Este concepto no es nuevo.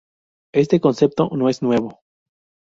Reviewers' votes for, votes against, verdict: 2, 0, accepted